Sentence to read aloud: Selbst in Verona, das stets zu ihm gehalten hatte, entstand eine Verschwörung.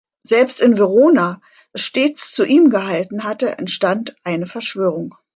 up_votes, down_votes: 2, 1